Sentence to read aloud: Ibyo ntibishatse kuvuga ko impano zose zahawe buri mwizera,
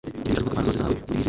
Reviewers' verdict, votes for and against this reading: rejected, 1, 2